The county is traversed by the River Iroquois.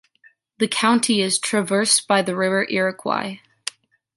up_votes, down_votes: 2, 0